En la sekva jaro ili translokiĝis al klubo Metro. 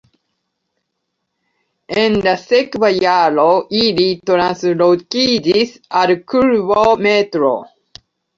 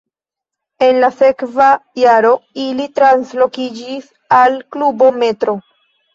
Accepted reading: first